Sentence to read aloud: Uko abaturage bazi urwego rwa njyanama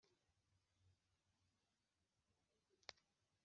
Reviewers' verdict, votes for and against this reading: rejected, 0, 2